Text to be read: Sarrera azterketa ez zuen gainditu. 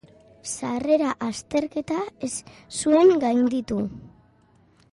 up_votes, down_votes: 2, 0